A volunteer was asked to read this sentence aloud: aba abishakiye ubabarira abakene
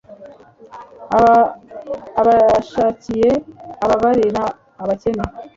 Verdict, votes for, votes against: accepted, 3, 0